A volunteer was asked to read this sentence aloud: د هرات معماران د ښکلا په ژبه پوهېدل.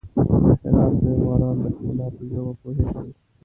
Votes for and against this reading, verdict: 0, 2, rejected